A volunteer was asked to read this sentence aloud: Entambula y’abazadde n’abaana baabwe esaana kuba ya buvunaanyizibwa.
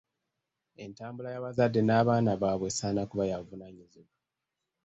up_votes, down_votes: 2, 1